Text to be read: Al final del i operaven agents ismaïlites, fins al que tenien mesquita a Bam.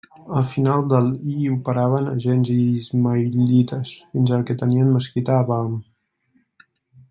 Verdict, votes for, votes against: rejected, 1, 2